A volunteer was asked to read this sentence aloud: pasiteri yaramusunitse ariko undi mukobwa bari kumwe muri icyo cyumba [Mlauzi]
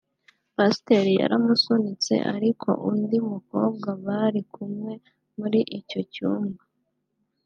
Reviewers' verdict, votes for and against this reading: rejected, 0, 3